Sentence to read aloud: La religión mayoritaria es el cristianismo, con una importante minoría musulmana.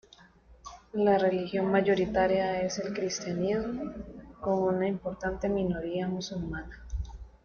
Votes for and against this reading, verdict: 1, 2, rejected